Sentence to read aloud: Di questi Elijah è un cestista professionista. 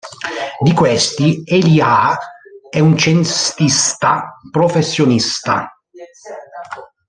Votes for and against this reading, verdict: 0, 2, rejected